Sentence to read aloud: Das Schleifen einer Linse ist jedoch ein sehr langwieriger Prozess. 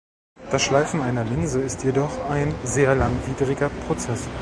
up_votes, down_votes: 0, 2